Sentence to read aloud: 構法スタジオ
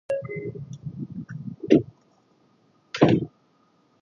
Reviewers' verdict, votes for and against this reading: rejected, 0, 2